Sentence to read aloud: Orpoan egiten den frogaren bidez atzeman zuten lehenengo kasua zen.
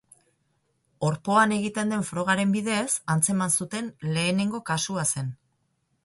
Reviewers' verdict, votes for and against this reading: accepted, 4, 2